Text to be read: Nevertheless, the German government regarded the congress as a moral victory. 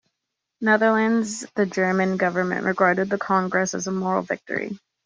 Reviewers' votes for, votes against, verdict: 1, 2, rejected